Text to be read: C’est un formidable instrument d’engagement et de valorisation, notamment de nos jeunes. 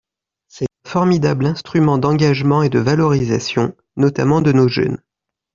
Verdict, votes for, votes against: rejected, 0, 2